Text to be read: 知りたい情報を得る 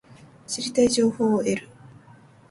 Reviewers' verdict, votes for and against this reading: accepted, 2, 0